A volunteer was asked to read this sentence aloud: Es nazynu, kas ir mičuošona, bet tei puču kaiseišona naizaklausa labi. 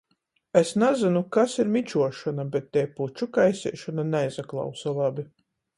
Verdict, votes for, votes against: accepted, 14, 0